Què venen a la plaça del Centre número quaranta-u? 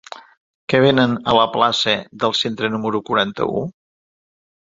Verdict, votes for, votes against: accepted, 2, 0